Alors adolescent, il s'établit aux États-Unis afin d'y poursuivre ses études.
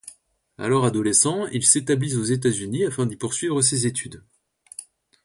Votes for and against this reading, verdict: 0, 2, rejected